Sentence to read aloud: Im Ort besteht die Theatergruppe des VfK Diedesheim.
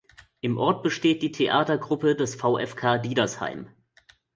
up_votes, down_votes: 0, 2